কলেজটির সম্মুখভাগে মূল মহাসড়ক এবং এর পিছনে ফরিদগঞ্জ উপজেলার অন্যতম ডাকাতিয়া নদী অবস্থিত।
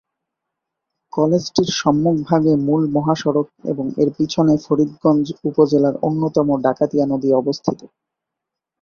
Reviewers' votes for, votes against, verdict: 9, 1, accepted